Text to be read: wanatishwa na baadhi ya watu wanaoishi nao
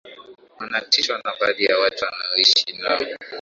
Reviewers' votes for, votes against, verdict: 2, 0, accepted